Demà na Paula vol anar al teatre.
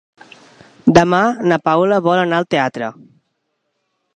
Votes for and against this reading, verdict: 3, 0, accepted